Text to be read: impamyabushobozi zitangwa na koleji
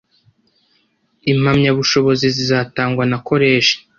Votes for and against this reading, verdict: 2, 1, accepted